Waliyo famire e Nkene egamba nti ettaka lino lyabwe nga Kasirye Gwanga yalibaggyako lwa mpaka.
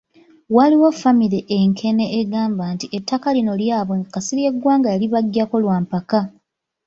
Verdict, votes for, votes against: rejected, 1, 3